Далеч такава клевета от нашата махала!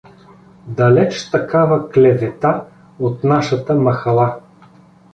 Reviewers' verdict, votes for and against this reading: accepted, 2, 0